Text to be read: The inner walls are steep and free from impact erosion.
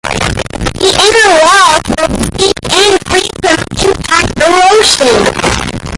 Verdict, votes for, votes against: rejected, 0, 2